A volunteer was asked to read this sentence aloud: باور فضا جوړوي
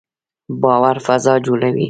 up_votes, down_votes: 4, 2